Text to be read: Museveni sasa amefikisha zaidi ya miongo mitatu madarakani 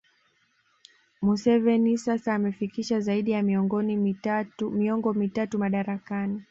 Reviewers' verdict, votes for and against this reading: rejected, 1, 2